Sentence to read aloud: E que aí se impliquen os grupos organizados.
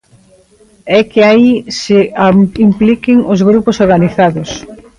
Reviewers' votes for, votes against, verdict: 0, 2, rejected